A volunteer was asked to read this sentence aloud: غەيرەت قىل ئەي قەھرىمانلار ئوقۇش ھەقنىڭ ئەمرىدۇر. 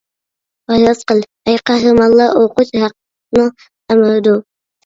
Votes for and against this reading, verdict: 0, 2, rejected